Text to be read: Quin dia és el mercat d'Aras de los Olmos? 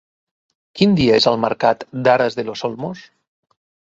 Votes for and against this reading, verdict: 2, 0, accepted